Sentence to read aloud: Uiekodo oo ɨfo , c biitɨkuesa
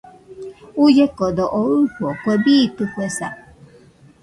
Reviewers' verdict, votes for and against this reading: rejected, 0, 2